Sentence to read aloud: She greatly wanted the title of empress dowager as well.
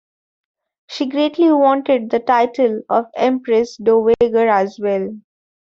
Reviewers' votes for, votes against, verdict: 0, 2, rejected